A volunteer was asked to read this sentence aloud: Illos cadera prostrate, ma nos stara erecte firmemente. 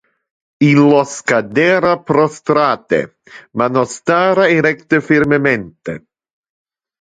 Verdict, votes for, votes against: rejected, 0, 2